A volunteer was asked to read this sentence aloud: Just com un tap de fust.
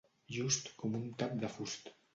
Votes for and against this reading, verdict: 2, 0, accepted